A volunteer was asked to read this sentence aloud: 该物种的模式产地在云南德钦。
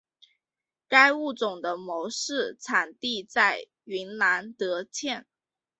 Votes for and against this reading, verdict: 0, 2, rejected